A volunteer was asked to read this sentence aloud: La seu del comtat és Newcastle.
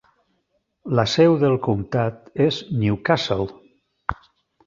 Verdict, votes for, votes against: accepted, 3, 0